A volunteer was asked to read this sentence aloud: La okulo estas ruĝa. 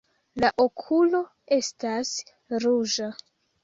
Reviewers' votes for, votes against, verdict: 1, 2, rejected